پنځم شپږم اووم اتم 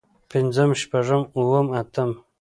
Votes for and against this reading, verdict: 2, 1, accepted